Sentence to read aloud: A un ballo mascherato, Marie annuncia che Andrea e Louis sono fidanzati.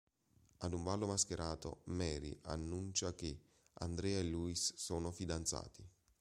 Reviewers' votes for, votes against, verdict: 0, 2, rejected